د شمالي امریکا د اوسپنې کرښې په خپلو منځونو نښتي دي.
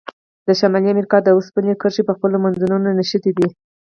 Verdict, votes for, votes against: rejected, 0, 4